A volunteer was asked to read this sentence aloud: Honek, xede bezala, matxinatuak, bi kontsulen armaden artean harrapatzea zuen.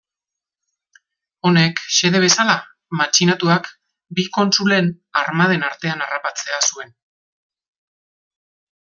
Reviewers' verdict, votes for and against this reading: accepted, 2, 0